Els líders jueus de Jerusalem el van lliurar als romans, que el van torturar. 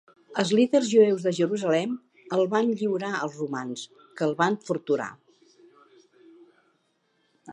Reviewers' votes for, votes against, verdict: 2, 0, accepted